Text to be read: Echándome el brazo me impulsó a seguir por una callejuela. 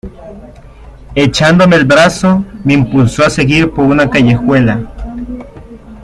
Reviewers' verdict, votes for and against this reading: accepted, 2, 0